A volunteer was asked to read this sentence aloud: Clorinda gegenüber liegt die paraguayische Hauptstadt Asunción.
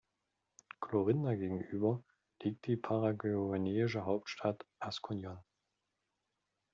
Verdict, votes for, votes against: rejected, 0, 2